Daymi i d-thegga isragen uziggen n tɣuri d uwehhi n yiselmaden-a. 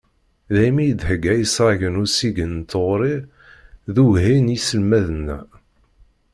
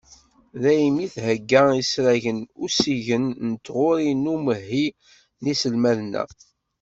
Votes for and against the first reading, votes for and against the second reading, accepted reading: 1, 2, 2, 1, second